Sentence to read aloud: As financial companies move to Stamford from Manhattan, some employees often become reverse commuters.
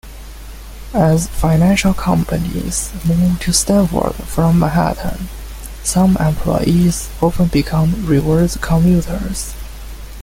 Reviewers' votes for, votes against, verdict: 2, 1, accepted